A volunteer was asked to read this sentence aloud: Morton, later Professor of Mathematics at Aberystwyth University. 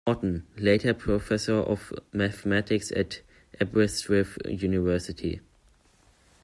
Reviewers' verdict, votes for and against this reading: rejected, 0, 2